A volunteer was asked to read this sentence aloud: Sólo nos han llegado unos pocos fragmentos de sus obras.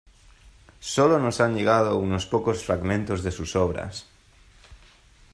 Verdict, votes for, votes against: accepted, 2, 0